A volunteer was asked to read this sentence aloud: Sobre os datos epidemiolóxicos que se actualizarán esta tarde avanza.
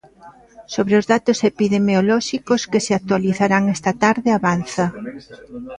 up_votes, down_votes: 2, 0